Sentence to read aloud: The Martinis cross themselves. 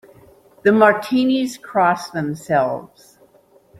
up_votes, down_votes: 3, 0